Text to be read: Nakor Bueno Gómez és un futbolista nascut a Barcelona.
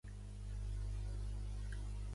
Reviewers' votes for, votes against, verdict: 1, 2, rejected